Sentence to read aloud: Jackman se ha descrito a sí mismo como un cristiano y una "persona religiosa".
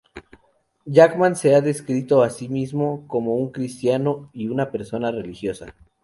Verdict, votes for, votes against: accepted, 2, 0